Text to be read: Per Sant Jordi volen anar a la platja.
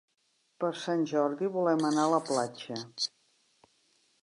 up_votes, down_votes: 1, 4